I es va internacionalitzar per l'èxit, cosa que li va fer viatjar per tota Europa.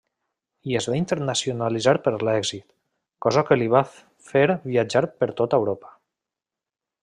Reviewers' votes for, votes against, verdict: 0, 2, rejected